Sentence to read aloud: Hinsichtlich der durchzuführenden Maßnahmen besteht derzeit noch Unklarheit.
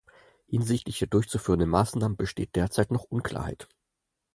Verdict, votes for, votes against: accepted, 4, 0